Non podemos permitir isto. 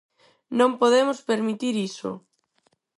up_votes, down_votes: 0, 4